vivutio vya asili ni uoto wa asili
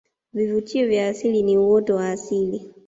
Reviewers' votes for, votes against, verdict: 0, 2, rejected